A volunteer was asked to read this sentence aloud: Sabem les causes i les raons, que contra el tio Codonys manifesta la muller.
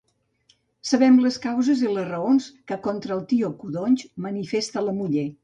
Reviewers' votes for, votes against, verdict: 2, 0, accepted